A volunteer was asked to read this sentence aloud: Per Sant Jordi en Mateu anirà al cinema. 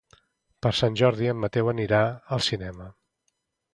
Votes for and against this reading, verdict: 2, 0, accepted